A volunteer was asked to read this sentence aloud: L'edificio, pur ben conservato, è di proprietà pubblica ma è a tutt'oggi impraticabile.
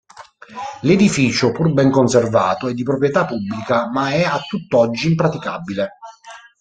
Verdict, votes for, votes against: rejected, 1, 2